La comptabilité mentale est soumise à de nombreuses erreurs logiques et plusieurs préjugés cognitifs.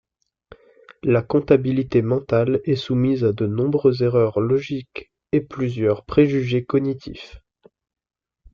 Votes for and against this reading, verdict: 2, 0, accepted